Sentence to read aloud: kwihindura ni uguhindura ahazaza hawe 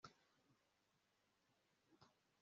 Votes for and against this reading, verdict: 0, 2, rejected